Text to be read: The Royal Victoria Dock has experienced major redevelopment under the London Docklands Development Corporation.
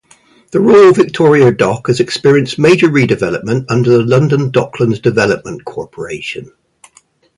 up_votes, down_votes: 4, 0